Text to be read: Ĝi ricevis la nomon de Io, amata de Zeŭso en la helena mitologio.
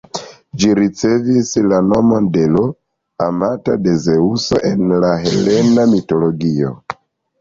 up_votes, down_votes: 1, 2